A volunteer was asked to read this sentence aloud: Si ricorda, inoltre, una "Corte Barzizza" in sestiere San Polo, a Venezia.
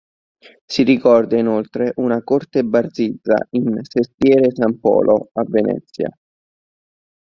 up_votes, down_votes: 1, 2